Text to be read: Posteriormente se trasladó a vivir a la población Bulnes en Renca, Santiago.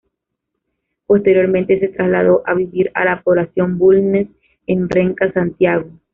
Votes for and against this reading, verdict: 2, 0, accepted